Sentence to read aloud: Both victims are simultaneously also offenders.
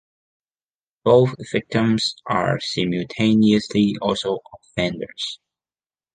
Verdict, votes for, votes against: accepted, 2, 0